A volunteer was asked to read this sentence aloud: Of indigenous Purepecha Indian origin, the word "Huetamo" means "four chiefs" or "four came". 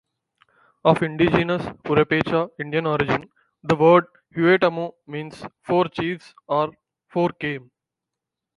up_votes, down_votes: 4, 0